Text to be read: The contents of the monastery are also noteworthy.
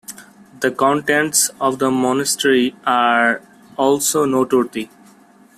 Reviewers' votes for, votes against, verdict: 2, 0, accepted